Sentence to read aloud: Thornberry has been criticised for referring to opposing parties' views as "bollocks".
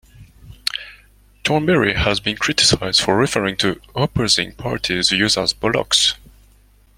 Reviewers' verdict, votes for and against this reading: accepted, 2, 0